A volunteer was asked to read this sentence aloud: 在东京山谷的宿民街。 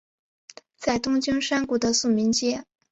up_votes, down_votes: 2, 0